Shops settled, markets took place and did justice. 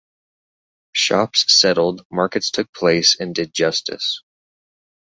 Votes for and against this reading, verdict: 2, 0, accepted